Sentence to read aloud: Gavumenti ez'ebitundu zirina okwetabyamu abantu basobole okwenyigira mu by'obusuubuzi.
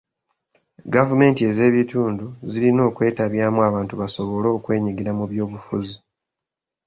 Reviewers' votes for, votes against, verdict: 0, 2, rejected